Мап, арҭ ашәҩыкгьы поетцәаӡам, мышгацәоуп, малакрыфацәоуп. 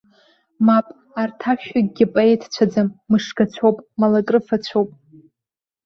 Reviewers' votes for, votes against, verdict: 1, 2, rejected